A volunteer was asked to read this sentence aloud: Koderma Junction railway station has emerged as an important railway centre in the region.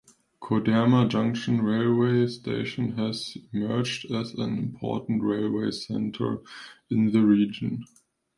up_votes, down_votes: 2, 1